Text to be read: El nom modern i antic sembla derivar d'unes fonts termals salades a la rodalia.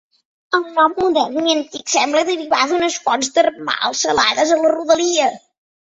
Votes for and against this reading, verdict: 0, 2, rejected